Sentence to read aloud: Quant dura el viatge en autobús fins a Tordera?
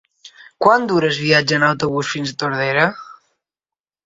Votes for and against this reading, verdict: 0, 2, rejected